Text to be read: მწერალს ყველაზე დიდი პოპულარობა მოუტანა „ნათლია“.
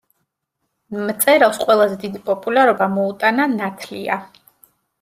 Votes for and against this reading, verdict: 0, 2, rejected